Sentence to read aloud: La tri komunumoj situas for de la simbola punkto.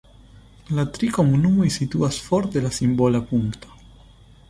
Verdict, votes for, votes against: accepted, 2, 0